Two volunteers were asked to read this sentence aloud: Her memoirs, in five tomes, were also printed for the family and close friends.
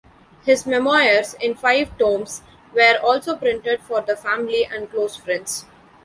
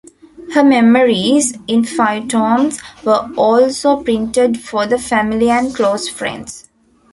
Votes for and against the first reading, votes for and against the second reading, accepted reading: 0, 2, 2, 0, second